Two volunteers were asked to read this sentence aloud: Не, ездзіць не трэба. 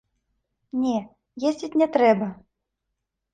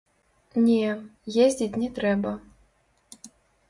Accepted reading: first